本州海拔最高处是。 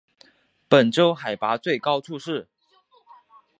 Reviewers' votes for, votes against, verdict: 4, 0, accepted